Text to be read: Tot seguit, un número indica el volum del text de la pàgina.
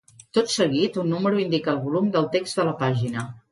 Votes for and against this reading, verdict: 2, 0, accepted